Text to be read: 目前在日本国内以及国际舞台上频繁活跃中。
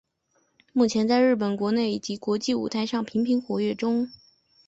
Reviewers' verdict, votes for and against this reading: accepted, 5, 0